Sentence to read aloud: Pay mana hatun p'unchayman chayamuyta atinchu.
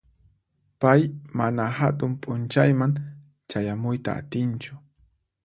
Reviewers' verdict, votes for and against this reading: accepted, 4, 0